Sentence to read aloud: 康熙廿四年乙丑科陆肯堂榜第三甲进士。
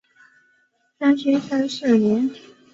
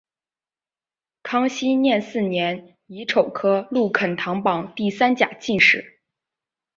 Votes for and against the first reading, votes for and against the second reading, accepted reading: 0, 3, 3, 0, second